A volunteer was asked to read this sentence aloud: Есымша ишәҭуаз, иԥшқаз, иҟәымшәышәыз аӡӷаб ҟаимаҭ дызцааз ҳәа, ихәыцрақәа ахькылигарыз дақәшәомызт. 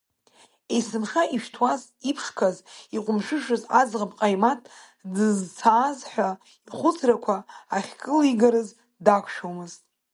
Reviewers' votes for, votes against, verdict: 1, 2, rejected